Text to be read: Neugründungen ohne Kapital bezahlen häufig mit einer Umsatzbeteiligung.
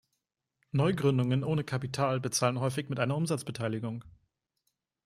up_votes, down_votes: 2, 0